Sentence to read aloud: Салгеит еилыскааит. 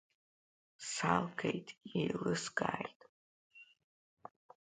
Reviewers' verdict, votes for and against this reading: accepted, 2, 0